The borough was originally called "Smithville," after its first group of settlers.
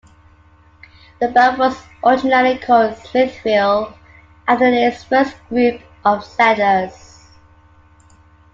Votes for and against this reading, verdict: 2, 0, accepted